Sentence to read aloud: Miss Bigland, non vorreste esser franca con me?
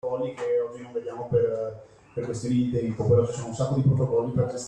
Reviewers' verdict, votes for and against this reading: rejected, 0, 2